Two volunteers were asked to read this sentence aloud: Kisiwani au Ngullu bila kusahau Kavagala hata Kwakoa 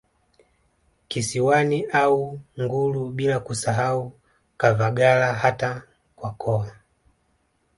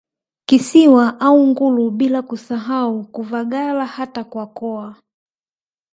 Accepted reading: first